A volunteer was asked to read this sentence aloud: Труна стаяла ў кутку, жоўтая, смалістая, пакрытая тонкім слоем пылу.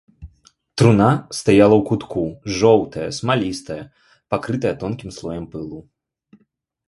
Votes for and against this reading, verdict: 3, 0, accepted